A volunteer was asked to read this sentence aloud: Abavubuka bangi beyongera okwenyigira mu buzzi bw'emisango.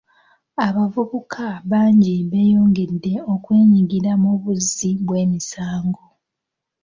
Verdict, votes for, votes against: rejected, 0, 2